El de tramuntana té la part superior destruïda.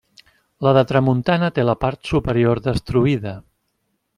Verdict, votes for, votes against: rejected, 1, 2